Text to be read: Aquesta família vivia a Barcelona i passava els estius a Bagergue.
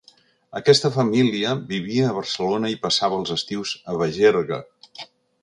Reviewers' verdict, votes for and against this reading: accepted, 2, 0